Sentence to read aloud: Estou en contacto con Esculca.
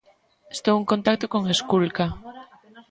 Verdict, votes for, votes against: rejected, 1, 2